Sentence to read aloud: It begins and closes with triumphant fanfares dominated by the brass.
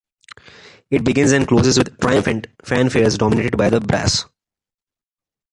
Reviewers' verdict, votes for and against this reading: rejected, 0, 2